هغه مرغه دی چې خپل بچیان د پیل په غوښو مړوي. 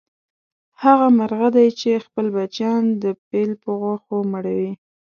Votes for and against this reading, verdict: 2, 0, accepted